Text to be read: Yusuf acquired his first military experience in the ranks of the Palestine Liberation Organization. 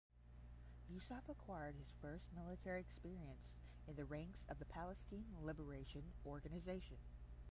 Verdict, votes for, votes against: rejected, 0, 5